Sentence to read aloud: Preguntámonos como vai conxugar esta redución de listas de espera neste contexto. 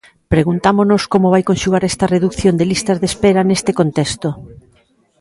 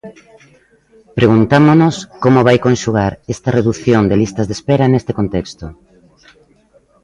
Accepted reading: first